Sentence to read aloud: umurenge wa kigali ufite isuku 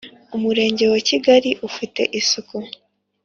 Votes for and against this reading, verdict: 5, 0, accepted